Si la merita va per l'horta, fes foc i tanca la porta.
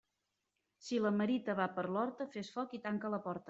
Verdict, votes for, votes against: accepted, 2, 0